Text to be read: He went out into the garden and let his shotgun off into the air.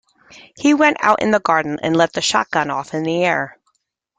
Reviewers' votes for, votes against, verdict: 0, 2, rejected